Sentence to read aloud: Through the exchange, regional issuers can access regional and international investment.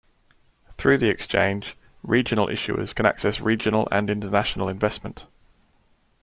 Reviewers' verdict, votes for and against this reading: accepted, 2, 0